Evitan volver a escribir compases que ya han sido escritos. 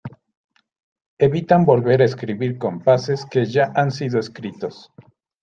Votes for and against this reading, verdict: 2, 0, accepted